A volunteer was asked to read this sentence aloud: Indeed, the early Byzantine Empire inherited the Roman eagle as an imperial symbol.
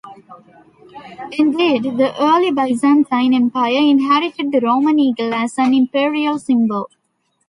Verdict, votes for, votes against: rejected, 0, 2